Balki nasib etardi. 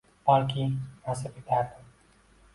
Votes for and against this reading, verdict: 0, 2, rejected